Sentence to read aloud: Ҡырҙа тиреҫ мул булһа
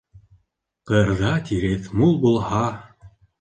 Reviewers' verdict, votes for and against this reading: accepted, 2, 0